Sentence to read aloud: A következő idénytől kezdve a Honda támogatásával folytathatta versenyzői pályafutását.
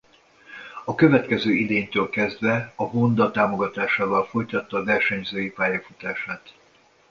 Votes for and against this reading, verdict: 1, 2, rejected